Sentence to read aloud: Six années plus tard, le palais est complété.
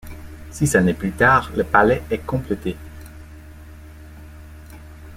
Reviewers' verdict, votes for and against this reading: accepted, 2, 0